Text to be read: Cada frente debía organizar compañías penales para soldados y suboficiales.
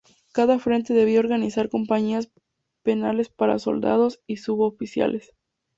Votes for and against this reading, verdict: 2, 0, accepted